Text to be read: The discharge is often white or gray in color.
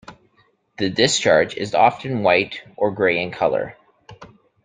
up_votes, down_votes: 2, 0